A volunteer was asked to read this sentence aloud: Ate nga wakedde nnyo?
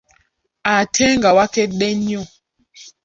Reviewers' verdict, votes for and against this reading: accepted, 2, 0